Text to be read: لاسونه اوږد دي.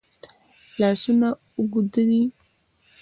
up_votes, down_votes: 1, 2